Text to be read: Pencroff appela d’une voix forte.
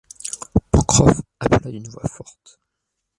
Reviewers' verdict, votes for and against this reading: rejected, 0, 2